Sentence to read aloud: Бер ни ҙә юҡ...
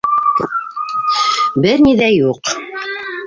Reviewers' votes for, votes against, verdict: 2, 1, accepted